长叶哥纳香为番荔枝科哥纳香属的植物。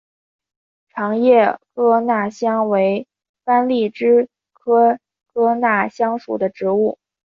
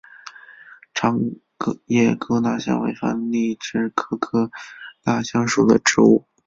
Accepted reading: second